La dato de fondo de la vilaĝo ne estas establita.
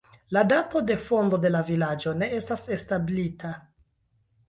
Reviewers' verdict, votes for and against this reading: accepted, 2, 0